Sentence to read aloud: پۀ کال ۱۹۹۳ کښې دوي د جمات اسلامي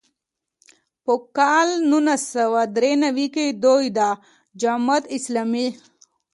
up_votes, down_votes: 0, 2